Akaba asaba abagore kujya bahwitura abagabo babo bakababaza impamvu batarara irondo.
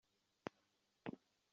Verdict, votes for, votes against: rejected, 0, 2